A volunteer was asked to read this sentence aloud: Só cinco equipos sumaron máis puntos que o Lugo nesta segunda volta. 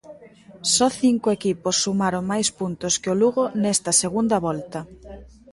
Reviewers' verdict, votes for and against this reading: accepted, 2, 1